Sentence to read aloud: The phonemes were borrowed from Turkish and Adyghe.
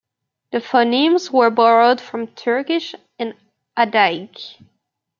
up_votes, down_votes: 0, 2